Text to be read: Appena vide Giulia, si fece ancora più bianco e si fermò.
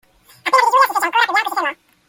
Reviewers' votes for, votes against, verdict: 0, 2, rejected